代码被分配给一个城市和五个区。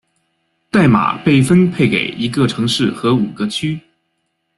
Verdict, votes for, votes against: accepted, 2, 0